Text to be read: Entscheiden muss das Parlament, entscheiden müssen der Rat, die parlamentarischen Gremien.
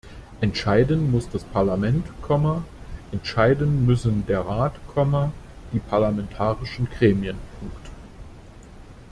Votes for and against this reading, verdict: 0, 2, rejected